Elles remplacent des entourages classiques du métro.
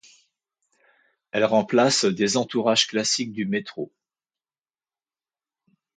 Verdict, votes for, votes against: accepted, 2, 0